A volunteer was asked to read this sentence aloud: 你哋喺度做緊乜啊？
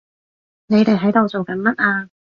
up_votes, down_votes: 2, 0